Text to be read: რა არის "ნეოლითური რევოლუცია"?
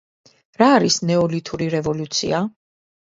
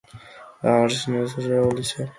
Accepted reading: first